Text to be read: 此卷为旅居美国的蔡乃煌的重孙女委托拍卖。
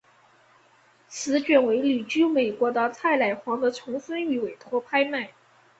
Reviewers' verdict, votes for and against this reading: accepted, 3, 0